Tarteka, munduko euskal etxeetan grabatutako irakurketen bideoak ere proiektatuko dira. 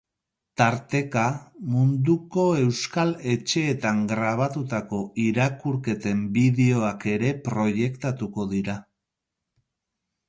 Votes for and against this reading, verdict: 6, 0, accepted